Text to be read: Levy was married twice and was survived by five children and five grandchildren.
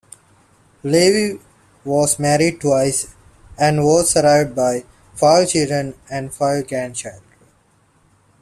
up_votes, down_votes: 0, 2